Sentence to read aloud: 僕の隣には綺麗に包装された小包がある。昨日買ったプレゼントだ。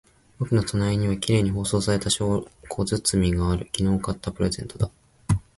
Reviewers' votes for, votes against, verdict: 11, 0, accepted